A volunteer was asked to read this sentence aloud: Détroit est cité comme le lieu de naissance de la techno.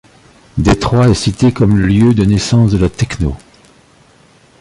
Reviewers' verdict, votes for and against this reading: accepted, 2, 0